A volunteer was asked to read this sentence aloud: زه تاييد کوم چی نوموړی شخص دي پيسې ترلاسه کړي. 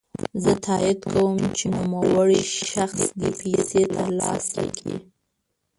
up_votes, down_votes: 1, 2